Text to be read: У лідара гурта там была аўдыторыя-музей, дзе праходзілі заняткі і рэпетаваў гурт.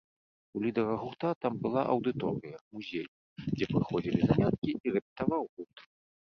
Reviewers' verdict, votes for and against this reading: rejected, 0, 2